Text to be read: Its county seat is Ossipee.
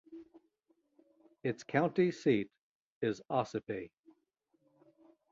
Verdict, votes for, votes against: accepted, 2, 0